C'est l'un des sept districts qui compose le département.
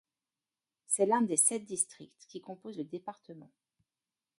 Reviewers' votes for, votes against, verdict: 0, 2, rejected